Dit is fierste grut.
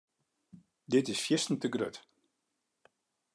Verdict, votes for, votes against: rejected, 1, 2